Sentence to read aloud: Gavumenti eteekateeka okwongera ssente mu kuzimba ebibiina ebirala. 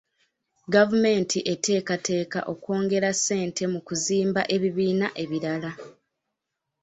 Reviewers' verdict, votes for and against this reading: accepted, 2, 0